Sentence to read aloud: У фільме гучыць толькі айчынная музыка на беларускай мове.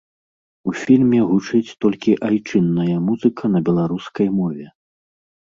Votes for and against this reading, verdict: 2, 0, accepted